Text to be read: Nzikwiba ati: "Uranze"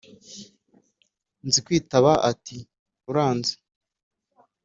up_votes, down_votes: 3, 0